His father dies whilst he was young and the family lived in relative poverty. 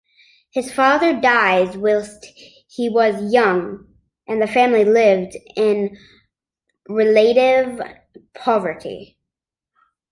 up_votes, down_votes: 1, 2